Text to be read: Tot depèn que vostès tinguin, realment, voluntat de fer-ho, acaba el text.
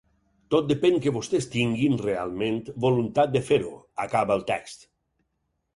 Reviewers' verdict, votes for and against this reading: accepted, 4, 0